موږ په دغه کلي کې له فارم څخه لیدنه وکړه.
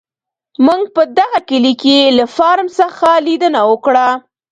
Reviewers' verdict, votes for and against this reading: rejected, 1, 2